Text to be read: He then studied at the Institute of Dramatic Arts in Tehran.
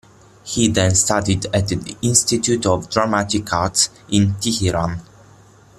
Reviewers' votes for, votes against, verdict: 1, 2, rejected